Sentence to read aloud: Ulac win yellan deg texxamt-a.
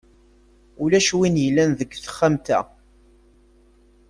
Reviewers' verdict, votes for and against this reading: accepted, 2, 0